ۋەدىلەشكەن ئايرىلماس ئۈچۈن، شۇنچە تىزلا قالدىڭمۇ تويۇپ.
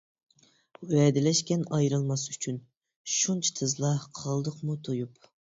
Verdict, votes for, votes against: rejected, 0, 2